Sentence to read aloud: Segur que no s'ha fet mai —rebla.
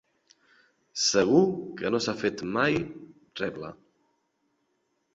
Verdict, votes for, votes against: accepted, 2, 0